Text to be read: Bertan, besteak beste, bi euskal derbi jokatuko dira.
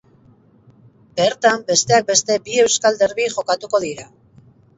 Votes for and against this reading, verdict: 4, 0, accepted